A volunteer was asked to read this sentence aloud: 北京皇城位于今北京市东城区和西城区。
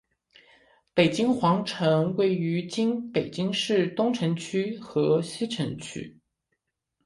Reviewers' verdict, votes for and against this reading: accepted, 4, 0